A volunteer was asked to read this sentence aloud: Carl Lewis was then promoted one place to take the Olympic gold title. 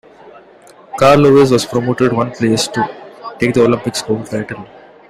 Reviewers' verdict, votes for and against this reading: accepted, 2, 1